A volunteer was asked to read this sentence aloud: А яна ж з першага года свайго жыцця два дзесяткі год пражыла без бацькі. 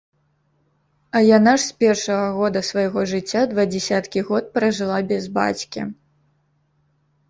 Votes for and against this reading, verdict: 0, 2, rejected